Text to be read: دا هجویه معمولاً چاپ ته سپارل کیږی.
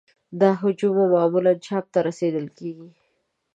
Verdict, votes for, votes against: rejected, 0, 2